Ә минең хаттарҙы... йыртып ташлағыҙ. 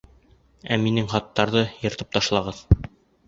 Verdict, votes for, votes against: accepted, 2, 0